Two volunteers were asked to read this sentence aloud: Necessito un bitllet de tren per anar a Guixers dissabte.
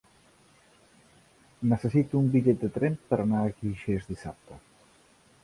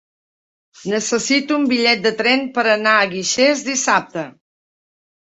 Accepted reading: second